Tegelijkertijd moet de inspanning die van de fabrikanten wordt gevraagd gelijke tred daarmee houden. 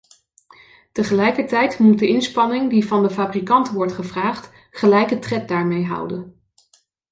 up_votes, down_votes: 2, 0